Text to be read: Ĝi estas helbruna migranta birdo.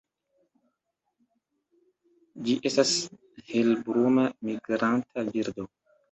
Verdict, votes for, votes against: rejected, 0, 2